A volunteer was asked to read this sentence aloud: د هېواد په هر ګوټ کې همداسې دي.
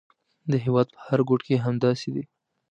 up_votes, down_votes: 2, 0